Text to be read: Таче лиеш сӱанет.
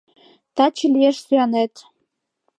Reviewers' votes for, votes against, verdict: 2, 0, accepted